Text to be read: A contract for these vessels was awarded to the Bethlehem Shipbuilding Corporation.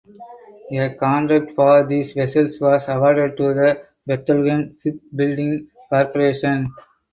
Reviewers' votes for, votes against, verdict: 4, 0, accepted